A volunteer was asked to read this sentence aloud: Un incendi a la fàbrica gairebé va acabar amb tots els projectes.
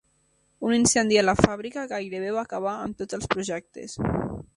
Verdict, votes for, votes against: accepted, 3, 0